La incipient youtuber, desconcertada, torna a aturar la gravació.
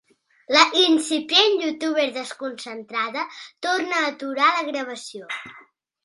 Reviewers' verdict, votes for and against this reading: rejected, 0, 2